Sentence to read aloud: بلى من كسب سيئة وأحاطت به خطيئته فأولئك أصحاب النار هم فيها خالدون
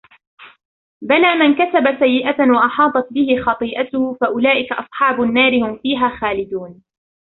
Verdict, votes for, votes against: rejected, 1, 2